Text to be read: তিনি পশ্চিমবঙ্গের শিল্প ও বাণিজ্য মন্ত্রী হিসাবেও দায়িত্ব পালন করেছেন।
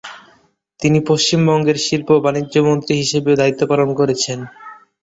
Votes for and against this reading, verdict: 0, 2, rejected